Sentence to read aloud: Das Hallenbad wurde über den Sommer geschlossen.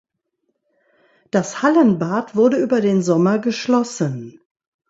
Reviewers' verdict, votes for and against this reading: accepted, 2, 0